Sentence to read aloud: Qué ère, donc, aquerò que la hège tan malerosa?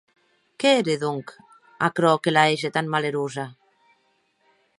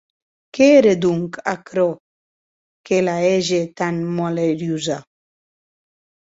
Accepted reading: first